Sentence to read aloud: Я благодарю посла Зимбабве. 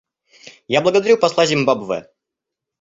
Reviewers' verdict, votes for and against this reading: accepted, 2, 0